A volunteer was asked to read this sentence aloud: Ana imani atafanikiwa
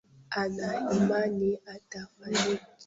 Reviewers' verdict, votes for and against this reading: rejected, 0, 2